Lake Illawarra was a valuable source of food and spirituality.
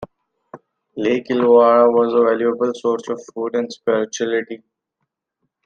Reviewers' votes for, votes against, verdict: 2, 0, accepted